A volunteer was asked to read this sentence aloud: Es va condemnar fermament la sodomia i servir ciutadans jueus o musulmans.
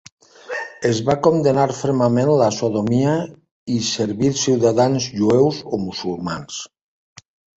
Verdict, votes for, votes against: rejected, 0, 2